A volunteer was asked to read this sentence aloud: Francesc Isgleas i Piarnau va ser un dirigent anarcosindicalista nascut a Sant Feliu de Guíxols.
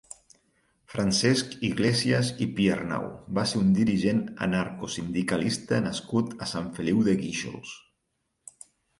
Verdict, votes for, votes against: rejected, 2, 4